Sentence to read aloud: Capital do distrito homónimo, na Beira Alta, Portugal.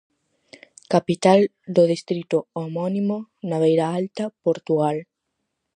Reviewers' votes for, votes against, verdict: 4, 0, accepted